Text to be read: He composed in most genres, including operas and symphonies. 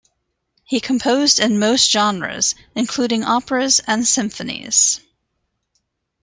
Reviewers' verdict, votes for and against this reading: accepted, 2, 0